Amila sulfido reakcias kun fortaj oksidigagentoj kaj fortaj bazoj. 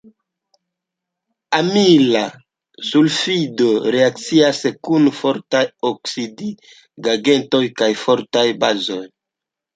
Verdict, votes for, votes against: accepted, 2, 0